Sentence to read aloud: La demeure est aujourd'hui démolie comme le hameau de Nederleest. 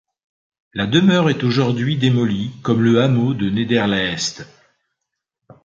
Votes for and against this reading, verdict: 2, 0, accepted